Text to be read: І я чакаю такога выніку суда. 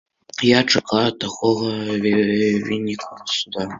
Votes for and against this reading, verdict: 0, 2, rejected